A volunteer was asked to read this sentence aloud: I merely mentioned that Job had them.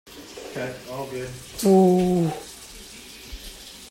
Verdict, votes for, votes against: rejected, 0, 2